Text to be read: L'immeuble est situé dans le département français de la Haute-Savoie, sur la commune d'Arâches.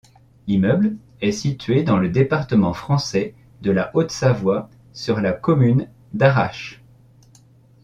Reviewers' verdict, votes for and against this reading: accepted, 2, 0